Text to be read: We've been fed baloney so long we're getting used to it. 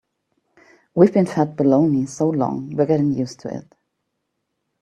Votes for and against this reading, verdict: 2, 0, accepted